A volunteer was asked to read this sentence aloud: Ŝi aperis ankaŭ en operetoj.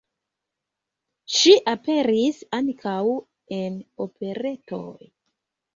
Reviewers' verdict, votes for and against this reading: accepted, 2, 1